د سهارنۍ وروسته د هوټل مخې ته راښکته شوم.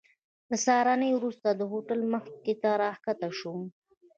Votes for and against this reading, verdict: 2, 0, accepted